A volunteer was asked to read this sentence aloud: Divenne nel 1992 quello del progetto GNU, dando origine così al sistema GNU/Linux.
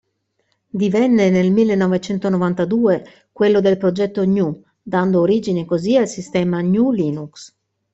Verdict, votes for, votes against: rejected, 0, 2